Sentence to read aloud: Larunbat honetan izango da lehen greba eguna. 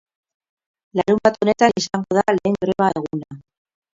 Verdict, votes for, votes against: rejected, 0, 2